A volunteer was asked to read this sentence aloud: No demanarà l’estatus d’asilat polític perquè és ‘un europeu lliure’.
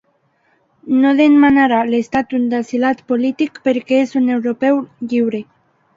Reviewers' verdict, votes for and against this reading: rejected, 1, 2